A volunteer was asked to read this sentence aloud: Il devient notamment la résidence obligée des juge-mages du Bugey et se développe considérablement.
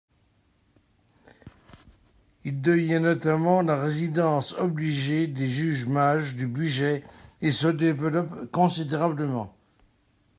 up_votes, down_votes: 1, 2